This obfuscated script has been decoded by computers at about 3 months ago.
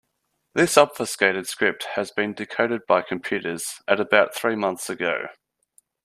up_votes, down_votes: 0, 2